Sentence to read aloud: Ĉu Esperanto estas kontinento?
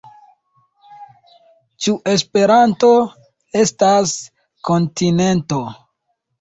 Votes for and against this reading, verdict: 2, 0, accepted